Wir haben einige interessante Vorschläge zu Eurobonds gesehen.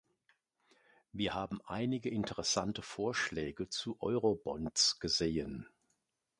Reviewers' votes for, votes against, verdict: 2, 0, accepted